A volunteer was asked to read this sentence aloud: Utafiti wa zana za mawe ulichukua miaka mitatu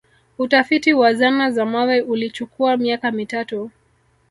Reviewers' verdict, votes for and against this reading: accepted, 2, 1